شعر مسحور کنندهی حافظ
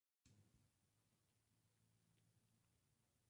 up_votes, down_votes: 0, 2